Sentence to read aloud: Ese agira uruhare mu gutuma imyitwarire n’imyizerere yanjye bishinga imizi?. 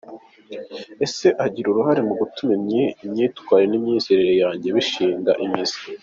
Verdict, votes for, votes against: rejected, 1, 3